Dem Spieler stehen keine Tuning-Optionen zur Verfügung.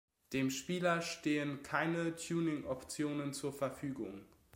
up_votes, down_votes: 2, 0